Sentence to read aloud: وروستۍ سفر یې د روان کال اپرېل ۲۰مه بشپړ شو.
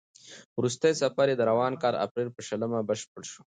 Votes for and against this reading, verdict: 0, 2, rejected